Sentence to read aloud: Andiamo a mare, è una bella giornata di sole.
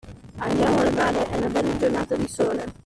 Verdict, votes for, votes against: rejected, 1, 2